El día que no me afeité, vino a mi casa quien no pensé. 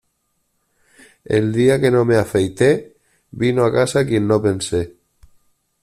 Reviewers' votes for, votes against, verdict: 0, 2, rejected